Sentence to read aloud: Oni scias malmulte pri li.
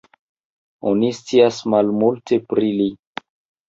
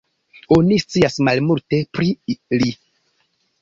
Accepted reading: second